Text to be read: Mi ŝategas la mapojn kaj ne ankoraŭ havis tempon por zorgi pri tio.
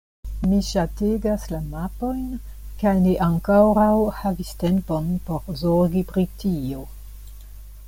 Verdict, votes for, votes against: rejected, 1, 2